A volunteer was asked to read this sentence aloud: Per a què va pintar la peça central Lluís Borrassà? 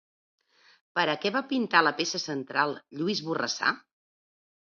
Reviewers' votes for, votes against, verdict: 2, 0, accepted